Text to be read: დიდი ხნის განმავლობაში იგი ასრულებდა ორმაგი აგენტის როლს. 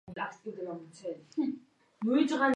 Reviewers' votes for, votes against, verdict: 0, 2, rejected